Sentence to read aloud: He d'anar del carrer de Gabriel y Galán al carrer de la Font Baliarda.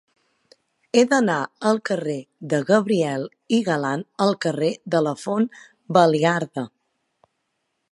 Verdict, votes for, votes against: rejected, 2, 3